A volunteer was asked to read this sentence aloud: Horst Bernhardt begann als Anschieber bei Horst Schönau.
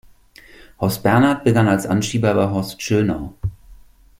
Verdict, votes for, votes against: accepted, 2, 0